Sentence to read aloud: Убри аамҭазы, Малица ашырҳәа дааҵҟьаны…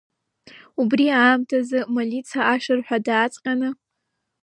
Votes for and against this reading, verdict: 1, 2, rejected